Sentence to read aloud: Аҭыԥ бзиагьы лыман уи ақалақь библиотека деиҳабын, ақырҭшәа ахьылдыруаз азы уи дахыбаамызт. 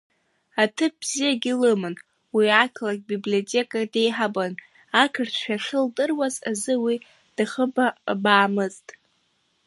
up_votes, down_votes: 0, 2